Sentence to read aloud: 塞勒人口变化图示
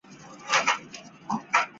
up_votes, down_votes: 0, 3